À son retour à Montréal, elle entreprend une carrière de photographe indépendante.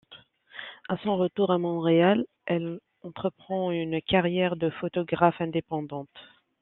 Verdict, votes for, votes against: rejected, 1, 2